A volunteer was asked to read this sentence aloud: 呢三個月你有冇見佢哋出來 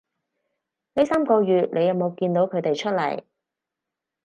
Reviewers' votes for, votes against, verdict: 0, 2, rejected